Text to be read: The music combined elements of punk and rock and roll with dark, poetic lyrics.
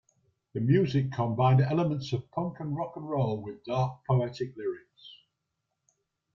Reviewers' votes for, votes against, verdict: 0, 2, rejected